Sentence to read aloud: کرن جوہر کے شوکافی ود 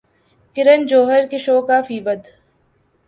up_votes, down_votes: 2, 0